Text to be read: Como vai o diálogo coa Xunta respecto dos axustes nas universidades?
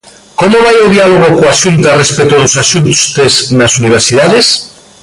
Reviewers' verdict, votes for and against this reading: rejected, 1, 2